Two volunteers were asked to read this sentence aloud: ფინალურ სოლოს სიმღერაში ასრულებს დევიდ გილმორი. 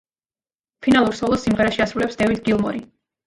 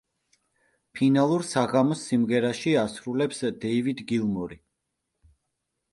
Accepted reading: first